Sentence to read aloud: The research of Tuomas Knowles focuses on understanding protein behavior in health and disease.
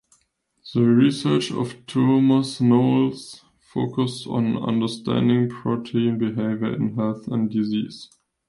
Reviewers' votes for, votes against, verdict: 1, 2, rejected